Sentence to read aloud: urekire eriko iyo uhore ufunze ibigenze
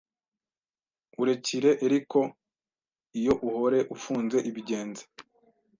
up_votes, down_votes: 1, 2